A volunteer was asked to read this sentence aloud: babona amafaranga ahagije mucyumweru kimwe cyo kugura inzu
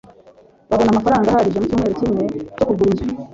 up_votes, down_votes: 1, 2